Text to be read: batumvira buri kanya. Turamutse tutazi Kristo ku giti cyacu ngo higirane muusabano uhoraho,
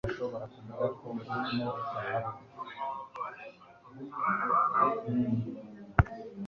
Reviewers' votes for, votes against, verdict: 1, 2, rejected